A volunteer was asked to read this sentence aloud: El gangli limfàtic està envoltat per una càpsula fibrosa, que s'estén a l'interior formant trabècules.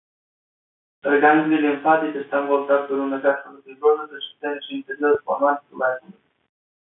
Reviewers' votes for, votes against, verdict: 0, 2, rejected